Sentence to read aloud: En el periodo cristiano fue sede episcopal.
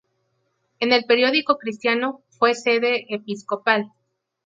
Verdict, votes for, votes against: rejected, 2, 2